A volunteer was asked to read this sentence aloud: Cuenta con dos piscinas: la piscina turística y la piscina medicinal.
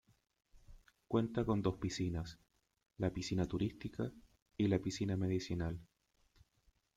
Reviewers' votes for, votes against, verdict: 2, 0, accepted